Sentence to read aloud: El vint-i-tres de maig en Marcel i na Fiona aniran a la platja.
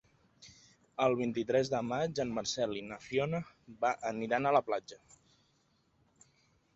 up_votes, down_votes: 2, 1